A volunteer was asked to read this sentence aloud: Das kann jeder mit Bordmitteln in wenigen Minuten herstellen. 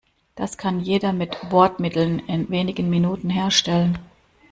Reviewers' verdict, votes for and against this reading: accepted, 2, 0